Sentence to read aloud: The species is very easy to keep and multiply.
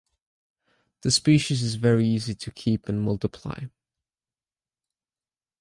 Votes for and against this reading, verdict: 2, 0, accepted